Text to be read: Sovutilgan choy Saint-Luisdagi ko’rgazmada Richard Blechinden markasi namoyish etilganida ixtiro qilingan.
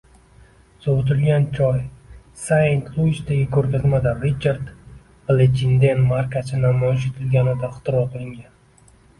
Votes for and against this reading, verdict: 0, 2, rejected